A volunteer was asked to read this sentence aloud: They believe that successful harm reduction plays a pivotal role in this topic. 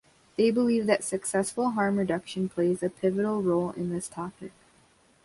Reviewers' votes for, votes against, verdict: 1, 2, rejected